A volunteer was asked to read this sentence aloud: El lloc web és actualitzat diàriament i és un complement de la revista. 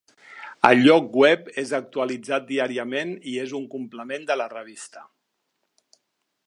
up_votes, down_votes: 4, 0